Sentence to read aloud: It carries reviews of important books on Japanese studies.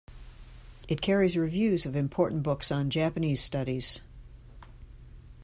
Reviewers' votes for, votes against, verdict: 2, 0, accepted